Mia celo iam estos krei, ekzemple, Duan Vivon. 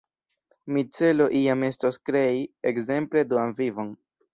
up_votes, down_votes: 0, 2